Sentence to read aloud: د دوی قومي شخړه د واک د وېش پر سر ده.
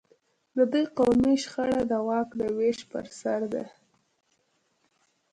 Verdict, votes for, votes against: rejected, 1, 2